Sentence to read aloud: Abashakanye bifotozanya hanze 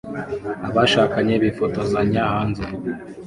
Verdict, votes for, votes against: accepted, 2, 1